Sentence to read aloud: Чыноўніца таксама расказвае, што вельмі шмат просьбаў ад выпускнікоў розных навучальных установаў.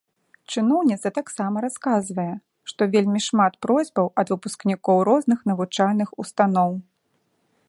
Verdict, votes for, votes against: rejected, 0, 2